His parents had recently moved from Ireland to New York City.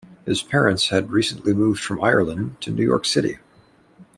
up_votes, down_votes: 2, 0